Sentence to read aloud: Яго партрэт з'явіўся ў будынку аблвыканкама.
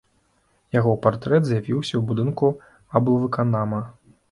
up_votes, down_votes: 0, 2